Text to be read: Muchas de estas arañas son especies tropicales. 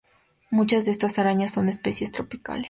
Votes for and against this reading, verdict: 2, 0, accepted